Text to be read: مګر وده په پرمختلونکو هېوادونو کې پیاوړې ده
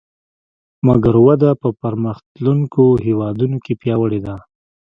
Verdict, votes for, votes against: rejected, 1, 2